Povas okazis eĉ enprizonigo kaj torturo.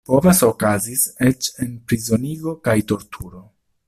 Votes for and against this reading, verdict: 2, 0, accepted